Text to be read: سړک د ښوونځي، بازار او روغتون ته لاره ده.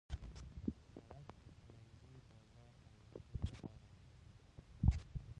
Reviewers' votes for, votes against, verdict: 0, 2, rejected